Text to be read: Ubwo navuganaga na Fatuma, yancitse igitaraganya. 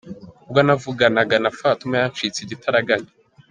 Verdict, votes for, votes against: accepted, 3, 2